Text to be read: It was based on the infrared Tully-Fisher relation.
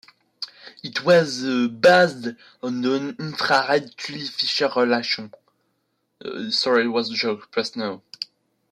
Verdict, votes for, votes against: rejected, 0, 2